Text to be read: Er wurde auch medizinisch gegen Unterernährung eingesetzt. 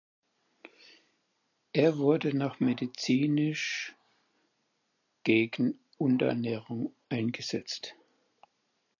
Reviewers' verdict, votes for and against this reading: rejected, 0, 4